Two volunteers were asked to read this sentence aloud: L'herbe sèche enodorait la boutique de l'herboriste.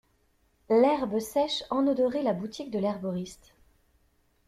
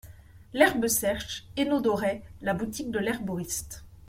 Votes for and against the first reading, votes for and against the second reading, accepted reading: 2, 0, 1, 2, first